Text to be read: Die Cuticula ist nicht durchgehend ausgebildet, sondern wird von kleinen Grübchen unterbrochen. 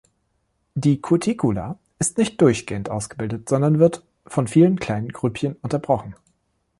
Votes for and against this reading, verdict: 0, 2, rejected